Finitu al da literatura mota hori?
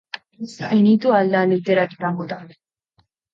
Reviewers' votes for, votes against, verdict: 0, 2, rejected